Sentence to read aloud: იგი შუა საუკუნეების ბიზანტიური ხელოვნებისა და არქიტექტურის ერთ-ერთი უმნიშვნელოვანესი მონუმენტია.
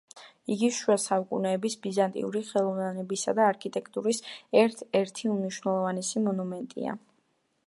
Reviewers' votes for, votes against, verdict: 2, 1, accepted